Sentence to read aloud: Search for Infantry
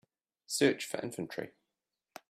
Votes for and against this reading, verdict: 2, 0, accepted